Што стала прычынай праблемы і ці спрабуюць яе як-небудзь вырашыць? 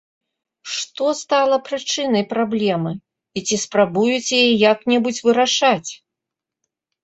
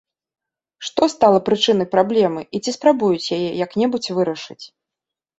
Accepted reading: second